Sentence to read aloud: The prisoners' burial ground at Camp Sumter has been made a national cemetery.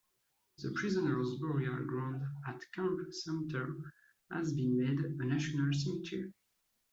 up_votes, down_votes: 2, 1